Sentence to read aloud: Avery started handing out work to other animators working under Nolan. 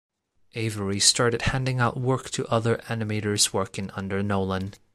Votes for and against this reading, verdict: 2, 0, accepted